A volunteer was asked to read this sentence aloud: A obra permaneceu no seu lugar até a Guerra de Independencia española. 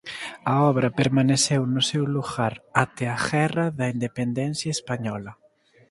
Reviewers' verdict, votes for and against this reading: rejected, 0, 2